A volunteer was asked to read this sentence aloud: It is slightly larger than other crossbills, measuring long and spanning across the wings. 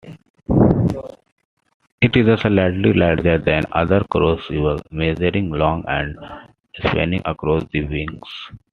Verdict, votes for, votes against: rejected, 0, 2